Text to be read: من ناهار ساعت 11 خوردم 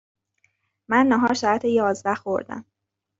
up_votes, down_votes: 0, 2